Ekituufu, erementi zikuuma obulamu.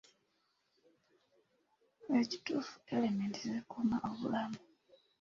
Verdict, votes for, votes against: accepted, 2, 1